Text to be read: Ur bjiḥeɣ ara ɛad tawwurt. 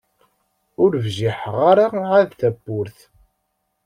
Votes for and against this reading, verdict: 3, 0, accepted